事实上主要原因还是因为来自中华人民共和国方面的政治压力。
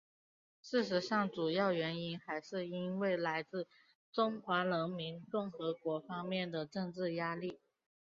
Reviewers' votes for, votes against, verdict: 2, 0, accepted